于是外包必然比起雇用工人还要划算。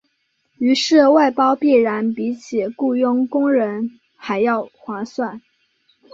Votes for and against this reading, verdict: 2, 1, accepted